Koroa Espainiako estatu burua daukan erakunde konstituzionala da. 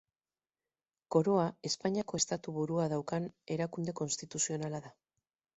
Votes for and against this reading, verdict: 4, 0, accepted